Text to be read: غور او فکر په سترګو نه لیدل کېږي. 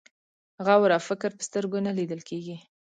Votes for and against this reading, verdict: 2, 0, accepted